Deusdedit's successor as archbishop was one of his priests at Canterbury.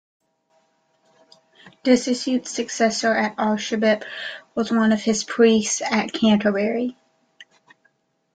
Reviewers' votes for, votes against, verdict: 1, 2, rejected